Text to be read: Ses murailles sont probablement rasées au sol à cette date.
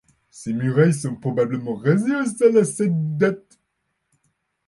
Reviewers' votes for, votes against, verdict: 1, 3, rejected